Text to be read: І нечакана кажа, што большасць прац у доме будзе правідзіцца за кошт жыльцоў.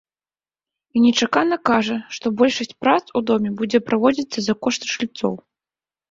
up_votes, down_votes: 2, 0